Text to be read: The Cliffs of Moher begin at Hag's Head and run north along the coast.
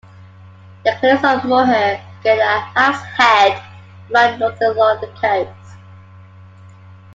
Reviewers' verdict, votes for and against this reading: rejected, 0, 2